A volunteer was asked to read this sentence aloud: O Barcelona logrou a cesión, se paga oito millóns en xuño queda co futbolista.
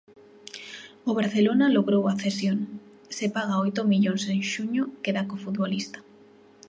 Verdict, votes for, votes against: accepted, 2, 0